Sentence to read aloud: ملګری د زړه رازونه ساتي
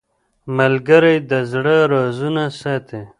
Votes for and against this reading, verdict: 1, 2, rejected